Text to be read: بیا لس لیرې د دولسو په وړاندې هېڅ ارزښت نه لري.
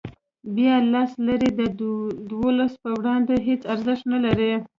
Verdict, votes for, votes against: rejected, 1, 2